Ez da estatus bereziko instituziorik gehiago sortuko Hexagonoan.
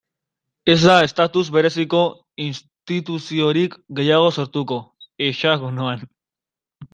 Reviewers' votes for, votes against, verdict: 2, 0, accepted